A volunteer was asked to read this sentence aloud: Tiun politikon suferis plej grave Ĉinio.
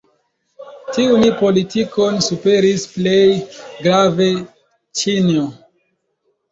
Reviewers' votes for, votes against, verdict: 1, 2, rejected